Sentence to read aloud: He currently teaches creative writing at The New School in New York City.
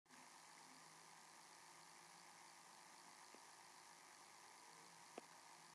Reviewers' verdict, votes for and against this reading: rejected, 0, 2